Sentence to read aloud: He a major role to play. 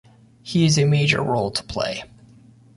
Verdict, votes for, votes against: rejected, 1, 2